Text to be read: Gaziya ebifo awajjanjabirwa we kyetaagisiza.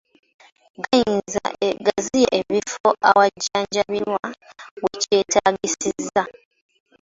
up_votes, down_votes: 0, 2